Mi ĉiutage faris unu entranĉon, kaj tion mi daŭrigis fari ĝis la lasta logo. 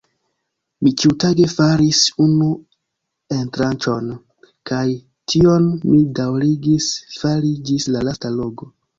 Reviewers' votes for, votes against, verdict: 2, 0, accepted